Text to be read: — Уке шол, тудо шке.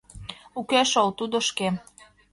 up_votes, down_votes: 2, 0